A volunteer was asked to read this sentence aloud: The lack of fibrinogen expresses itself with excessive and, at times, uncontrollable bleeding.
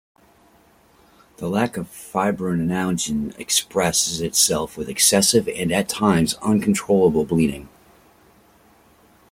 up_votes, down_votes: 2, 0